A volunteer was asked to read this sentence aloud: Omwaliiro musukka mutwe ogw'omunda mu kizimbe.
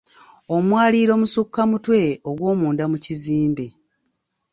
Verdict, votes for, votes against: accepted, 2, 1